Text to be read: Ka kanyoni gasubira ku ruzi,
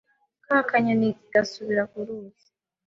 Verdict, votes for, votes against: accepted, 3, 0